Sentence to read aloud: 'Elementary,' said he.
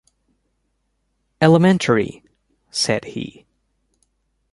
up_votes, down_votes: 3, 0